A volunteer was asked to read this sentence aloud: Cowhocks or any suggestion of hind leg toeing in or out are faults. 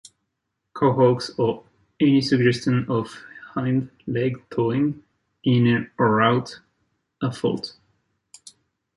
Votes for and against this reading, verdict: 1, 2, rejected